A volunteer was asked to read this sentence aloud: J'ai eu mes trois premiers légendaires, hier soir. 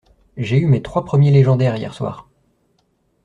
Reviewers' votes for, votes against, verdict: 2, 0, accepted